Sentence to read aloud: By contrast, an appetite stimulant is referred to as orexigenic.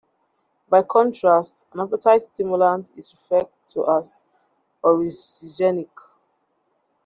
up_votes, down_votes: 0, 2